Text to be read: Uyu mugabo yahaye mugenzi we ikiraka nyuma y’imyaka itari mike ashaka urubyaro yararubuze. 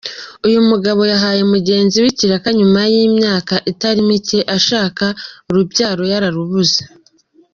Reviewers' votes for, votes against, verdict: 2, 0, accepted